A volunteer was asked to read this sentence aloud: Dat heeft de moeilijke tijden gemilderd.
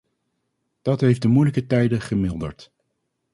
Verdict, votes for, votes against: accepted, 2, 0